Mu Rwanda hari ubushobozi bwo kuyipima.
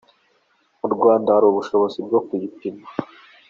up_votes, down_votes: 4, 2